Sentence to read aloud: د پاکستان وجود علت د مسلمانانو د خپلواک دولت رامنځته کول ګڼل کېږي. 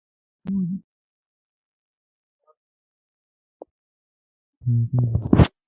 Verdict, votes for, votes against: rejected, 0, 2